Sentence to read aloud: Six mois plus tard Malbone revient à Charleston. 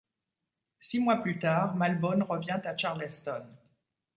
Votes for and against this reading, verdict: 2, 0, accepted